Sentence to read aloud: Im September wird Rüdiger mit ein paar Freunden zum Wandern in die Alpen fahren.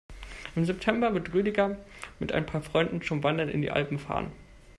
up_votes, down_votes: 1, 2